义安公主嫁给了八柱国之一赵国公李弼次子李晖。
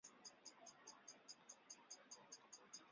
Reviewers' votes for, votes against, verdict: 0, 2, rejected